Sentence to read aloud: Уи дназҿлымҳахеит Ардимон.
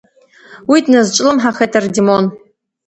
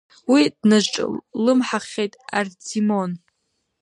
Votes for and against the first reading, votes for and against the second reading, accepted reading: 2, 0, 1, 2, first